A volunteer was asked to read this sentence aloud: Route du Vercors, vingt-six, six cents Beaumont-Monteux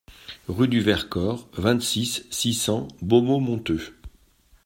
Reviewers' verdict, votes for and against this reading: accepted, 2, 0